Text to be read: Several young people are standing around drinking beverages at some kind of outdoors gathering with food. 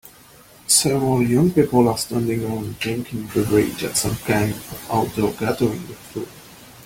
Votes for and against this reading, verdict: 0, 2, rejected